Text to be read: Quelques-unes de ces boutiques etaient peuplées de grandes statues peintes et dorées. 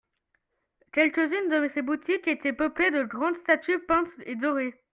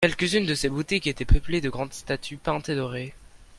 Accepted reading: second